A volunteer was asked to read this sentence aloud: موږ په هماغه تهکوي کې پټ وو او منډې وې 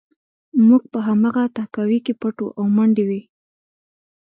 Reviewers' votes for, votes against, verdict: 2, 0, accepted